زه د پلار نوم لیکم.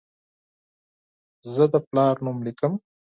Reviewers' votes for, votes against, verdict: 4, 0, accepted